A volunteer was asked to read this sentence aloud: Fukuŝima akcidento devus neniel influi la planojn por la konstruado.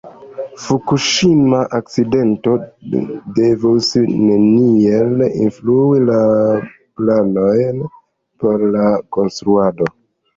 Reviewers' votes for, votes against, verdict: 0, 2, rejected